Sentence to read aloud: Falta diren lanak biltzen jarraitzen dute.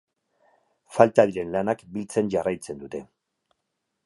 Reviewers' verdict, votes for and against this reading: accepted, 4, 0